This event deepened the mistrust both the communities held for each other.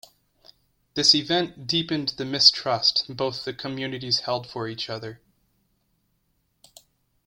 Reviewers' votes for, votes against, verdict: 2, 0, accepted